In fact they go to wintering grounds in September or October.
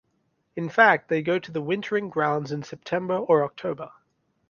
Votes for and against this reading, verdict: 0, 2, rejected